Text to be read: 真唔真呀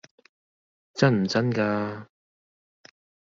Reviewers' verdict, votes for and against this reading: rejected, 0, 2